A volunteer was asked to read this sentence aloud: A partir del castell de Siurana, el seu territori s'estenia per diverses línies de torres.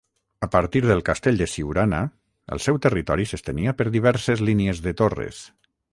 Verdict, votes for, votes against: accepted, 6, 0